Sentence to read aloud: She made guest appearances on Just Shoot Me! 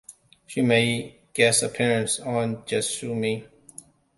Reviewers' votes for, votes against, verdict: 2, 0, accepted